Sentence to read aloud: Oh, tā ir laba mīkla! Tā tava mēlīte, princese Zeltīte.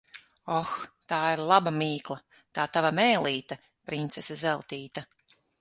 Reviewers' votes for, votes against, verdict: 9, 0, accepted